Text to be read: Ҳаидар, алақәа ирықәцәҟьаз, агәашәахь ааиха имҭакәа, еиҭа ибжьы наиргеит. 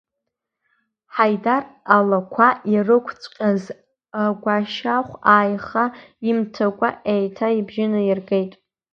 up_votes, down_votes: 2, 0